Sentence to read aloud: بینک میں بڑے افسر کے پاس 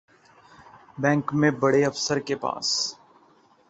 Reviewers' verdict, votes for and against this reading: accepted, 2, 0